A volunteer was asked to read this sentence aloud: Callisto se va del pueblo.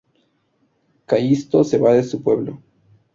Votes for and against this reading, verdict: 0, 2, rejected